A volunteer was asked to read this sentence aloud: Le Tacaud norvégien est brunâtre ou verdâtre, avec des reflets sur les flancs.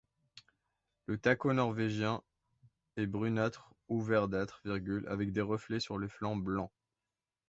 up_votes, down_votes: 0, 2